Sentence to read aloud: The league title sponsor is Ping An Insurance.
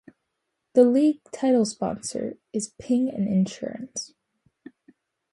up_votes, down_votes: 2, 0